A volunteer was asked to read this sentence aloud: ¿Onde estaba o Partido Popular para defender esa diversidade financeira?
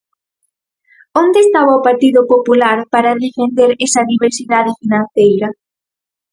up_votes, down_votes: 4, 0